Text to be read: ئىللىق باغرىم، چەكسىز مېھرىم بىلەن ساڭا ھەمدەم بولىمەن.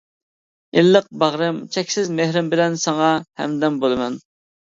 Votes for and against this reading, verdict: 2, 0, accepted